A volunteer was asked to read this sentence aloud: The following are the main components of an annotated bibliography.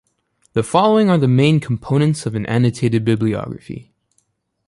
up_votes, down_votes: 2, 0